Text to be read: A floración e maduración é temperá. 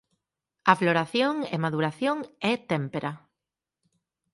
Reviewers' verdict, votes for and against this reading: rejected, 0, 4